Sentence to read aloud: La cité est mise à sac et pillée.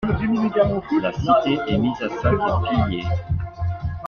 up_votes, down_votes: 2, 1